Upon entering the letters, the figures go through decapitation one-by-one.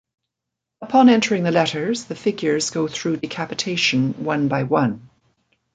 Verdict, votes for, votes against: accepted, 2, 0